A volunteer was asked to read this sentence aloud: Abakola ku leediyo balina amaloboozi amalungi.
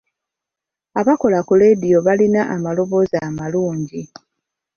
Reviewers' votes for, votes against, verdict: 2, 0, accepted